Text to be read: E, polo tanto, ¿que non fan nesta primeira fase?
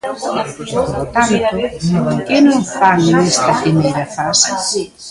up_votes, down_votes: 0, 2